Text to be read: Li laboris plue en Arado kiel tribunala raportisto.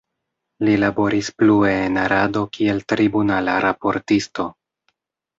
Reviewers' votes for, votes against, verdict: 2, 0, accepted